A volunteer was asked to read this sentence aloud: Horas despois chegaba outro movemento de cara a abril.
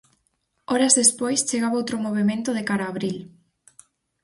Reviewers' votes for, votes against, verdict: 4, 0, accepted